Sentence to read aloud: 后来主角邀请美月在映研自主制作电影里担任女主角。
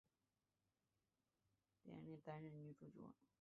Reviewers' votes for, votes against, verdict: 0, 3, rejected